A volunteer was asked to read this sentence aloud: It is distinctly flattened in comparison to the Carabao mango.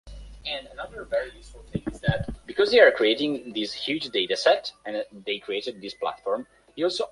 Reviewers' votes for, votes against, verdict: 0, 2, rejected